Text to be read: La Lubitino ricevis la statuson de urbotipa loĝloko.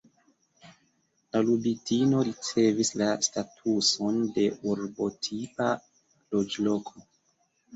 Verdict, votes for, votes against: accepted, 3, 1